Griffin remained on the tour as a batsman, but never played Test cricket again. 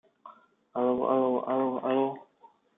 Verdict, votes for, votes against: rejected, 1, 2